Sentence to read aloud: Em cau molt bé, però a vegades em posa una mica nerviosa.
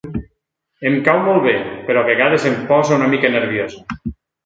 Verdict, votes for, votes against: accepted, 2, 0